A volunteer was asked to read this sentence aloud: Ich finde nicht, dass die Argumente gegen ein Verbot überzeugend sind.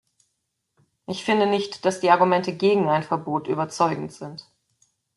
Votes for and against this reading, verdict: 2, 0, accepted